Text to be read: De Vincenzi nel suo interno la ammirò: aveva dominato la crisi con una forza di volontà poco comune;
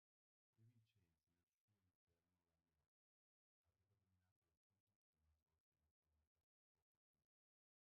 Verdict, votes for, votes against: rejected, 0, 2